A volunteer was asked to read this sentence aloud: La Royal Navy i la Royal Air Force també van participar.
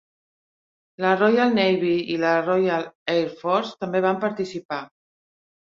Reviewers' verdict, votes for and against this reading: accepted, 3, 0